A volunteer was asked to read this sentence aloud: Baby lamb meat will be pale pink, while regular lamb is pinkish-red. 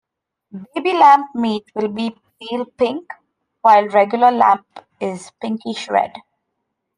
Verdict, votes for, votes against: rejected, 0, 2